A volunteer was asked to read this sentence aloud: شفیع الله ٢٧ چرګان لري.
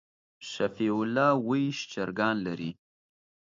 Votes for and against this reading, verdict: 0, 2, rejected